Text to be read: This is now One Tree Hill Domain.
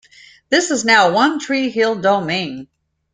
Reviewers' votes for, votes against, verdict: 2, 0, accepted